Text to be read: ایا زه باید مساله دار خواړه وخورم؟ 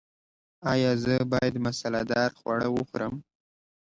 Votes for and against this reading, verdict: 2, 0, accepted